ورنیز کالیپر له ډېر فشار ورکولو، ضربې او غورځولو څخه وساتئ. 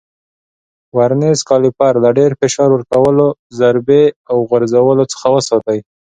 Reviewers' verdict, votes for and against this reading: accepted, 2, 0